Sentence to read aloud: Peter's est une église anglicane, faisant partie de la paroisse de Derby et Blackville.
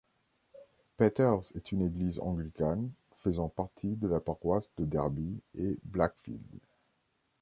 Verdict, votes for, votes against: accepted, 2, 0